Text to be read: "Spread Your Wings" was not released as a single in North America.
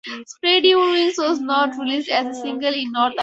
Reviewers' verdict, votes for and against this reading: rejected, 2, 4